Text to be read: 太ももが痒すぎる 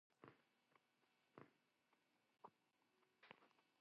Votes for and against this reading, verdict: 1, 2, rejected